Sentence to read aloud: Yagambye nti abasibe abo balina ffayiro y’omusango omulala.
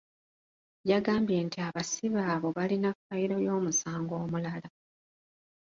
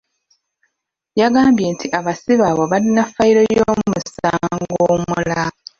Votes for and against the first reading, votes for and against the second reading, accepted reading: 3, 0, 1, 2, first